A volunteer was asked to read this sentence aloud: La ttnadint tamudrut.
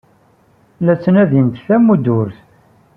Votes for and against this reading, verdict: 3, 0, accepted